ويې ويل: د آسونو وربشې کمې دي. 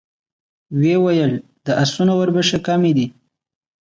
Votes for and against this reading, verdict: 2, 1, accepted